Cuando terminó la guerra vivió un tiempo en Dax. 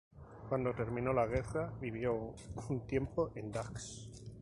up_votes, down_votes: 2, 2